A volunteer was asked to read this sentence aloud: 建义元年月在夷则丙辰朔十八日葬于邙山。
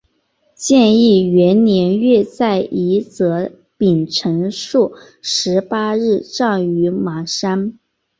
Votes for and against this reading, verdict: 3, 1, accepted